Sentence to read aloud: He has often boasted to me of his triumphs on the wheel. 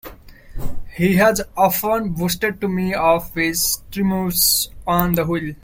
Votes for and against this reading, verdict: 0, 2, rejected